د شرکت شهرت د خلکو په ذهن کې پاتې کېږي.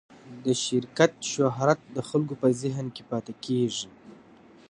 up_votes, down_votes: 2, 0